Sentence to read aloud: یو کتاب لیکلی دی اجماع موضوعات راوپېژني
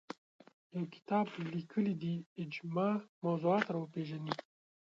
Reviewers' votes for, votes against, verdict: 1, 2, rejected